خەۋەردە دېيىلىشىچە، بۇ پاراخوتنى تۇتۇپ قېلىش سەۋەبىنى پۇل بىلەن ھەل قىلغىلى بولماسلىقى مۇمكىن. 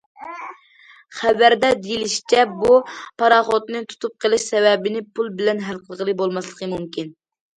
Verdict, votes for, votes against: accepted, 2, 0